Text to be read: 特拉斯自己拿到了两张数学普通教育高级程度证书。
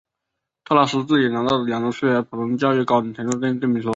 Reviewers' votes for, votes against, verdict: 0, 3, rejected